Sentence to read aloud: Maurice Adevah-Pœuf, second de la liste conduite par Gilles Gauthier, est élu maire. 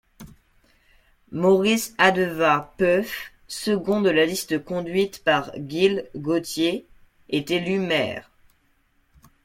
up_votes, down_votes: 1, 2